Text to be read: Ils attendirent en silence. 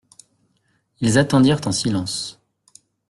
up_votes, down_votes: 2, 0